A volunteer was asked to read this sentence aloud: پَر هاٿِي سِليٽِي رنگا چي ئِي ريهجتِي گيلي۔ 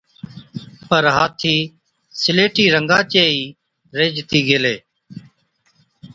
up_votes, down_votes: 2, 0